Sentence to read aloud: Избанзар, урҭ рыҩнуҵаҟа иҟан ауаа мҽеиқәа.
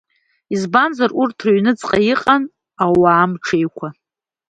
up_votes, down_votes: 2, 0